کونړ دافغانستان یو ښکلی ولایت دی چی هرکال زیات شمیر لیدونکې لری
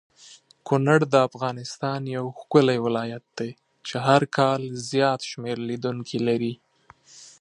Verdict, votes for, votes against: accepted, 2, 0